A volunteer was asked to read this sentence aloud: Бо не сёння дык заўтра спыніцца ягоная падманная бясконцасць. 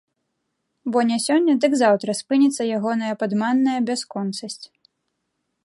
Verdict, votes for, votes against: rejected, 0, 2